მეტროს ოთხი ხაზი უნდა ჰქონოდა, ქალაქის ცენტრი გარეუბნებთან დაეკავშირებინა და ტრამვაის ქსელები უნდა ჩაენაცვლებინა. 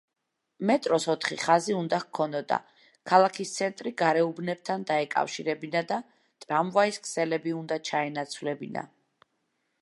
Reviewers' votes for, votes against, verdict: 2, 0, accepted